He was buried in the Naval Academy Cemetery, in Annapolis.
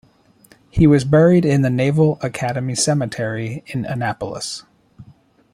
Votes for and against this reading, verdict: 1, 2, rejected